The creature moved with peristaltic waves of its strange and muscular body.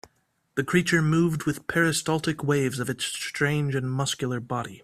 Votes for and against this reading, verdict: 4, 0, accepted